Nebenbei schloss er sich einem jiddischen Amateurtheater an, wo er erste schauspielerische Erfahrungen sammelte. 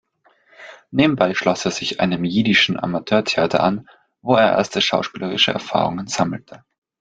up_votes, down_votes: 2, 0